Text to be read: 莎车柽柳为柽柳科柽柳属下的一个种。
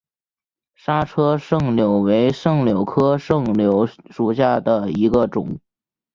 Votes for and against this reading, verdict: 2, 0, accepted